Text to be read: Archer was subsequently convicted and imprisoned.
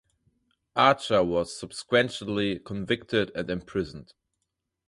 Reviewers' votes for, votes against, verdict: 0, 2, rejected